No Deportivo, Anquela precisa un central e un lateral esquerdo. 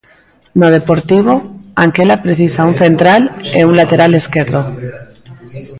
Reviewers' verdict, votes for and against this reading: rejected, 1, 2